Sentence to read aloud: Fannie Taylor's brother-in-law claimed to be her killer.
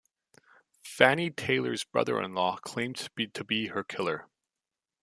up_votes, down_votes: 1, 2